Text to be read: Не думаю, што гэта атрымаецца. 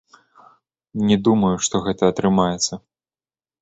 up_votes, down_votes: 1, 2